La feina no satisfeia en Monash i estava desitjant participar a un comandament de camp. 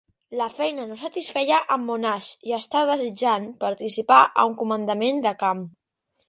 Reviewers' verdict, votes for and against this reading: rejected, 1, 2